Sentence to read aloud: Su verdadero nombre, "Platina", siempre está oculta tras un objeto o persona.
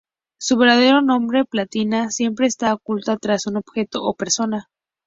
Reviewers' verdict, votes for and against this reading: rejected, 0, 2